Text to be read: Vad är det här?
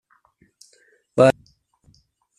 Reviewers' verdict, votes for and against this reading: rejected, 0, 2